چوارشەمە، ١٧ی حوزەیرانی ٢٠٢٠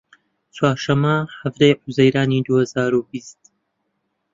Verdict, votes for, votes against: rejected, 0, 2